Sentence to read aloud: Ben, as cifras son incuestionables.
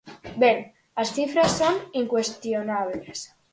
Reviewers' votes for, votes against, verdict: 4, 0, accepted